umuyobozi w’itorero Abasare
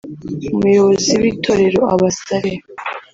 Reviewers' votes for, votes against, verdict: 0, 2, rejected